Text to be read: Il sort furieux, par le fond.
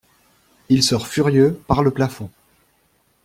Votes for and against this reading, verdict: 0, 2, rejected